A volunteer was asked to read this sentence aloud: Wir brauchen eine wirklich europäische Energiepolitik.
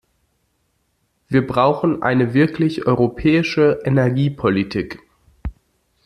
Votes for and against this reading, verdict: 2, 0, accepted